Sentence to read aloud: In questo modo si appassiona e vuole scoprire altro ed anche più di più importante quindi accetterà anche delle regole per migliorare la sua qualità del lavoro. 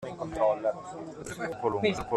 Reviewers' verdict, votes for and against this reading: rejected, 0, 2